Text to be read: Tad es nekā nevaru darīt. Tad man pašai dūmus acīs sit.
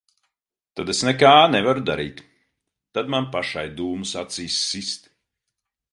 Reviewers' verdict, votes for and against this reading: rejected, 2, 5